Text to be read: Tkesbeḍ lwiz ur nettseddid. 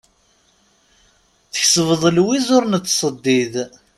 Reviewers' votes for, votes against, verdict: 2, 0, accepted